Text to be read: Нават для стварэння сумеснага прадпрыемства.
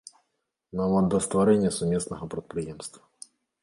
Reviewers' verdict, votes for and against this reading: rejected, 1, 2